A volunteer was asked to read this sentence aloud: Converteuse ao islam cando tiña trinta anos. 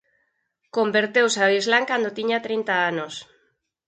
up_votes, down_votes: 4, 0